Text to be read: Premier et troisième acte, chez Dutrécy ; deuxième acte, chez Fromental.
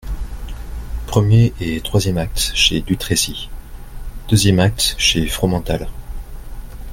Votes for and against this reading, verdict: 2, 0, accepted